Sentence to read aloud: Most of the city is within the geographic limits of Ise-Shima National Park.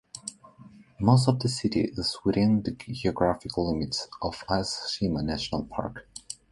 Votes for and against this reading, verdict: 2, 1, accepted